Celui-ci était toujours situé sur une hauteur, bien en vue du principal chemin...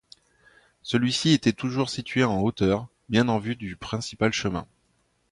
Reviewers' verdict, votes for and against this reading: rejected, 0, 2